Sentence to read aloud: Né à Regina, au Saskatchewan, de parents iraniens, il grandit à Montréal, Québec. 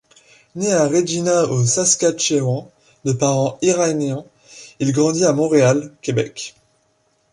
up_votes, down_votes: 2, 0